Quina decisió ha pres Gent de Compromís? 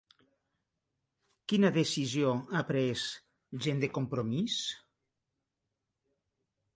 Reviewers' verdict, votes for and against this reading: accepted, 3, 0